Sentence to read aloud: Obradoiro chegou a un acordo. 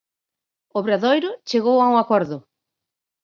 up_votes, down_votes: 4, 2